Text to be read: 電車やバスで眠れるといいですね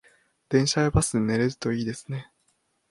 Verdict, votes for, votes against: rejected, 1, 2